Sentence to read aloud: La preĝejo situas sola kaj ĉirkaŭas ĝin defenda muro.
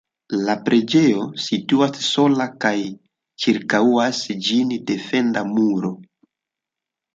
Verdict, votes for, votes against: rejected, 0, 2